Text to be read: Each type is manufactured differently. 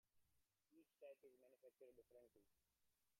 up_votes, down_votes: 0, 2